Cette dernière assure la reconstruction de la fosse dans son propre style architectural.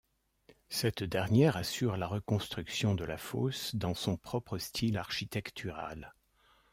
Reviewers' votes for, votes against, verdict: 2, 0, accepted